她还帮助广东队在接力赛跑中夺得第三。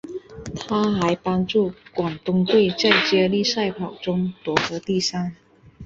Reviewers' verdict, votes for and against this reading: accepted, 2, 0